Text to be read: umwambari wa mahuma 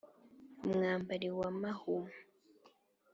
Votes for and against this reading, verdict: 2, 0, accepted